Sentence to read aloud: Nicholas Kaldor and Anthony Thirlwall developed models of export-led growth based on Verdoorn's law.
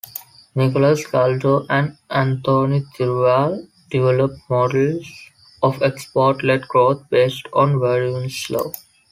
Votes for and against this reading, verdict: 2, 3, rejected